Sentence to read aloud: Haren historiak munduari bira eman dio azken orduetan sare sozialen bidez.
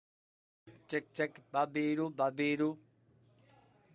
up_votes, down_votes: 0, 2